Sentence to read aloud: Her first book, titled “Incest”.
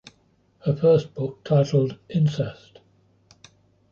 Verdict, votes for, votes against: accepted, 2, 0